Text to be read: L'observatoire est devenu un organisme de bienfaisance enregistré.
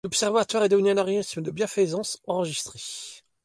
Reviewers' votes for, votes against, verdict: 2, 1, accepted